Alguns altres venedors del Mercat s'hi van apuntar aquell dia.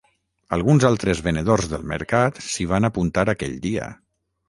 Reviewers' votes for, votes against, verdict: 6, 0, accepted